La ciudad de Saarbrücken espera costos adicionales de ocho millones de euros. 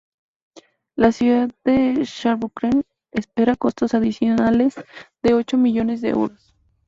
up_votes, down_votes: 2, 0